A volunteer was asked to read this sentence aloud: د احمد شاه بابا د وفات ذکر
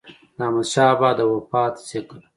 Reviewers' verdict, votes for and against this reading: accepted, 2, 1